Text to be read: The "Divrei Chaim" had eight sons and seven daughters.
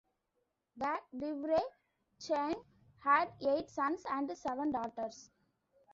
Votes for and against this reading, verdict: 2, 0, accepted